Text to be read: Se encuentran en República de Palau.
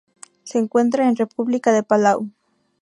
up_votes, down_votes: 4, 0